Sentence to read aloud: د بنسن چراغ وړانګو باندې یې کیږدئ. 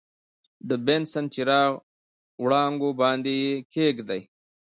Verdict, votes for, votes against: accepted, 2, 1